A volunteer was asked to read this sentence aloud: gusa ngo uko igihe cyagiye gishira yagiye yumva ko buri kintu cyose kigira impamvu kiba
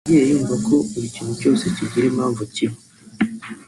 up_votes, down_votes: 1, 2